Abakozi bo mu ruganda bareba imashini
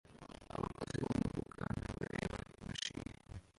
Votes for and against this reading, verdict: 0, 2, rejected